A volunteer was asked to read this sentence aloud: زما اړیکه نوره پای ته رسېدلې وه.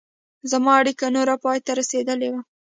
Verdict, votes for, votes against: accepted, 2, 0